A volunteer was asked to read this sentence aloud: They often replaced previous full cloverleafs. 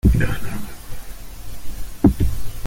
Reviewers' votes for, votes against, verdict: 0, 2, rejected